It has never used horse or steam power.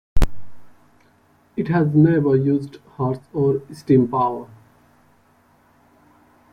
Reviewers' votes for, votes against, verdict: 2, 0, accepted